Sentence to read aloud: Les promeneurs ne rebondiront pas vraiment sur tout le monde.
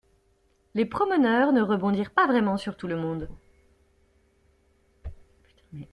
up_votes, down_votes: 0, 2